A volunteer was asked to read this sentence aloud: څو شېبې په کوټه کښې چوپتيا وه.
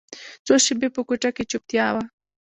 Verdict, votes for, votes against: rejected, 1, 2